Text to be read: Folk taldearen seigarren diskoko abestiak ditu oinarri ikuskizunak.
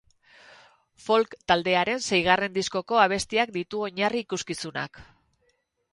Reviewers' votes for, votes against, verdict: 4, 0, accepted